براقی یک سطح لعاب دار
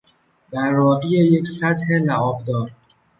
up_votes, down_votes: 1, 2